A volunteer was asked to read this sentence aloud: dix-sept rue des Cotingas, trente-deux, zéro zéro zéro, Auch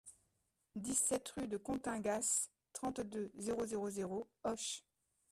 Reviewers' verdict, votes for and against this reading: rejected, 0, 2